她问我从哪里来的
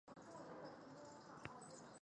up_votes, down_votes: 0, 2